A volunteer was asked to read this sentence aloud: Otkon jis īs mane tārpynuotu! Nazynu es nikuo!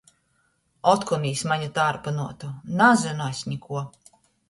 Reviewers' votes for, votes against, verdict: 1, 2, rejected